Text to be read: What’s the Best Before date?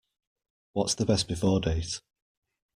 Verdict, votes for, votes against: rejected, 1, 2